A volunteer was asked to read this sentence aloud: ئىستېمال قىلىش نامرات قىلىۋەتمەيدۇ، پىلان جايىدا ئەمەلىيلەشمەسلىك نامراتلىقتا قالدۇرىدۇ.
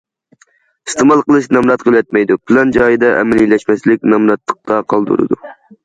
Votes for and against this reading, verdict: 2, 0, accepted